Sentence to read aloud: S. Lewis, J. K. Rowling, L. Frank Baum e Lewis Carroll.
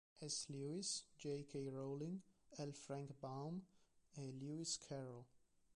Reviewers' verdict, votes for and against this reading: accepted, 2, 1